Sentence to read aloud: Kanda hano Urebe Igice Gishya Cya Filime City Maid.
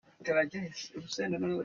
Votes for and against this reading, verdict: 0, 2, rejected